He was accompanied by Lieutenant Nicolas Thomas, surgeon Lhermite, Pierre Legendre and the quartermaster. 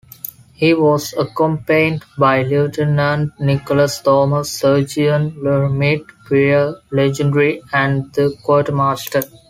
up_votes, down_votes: 0, 2